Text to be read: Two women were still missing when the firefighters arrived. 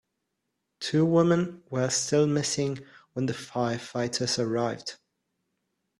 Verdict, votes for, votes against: accepted, 2, 0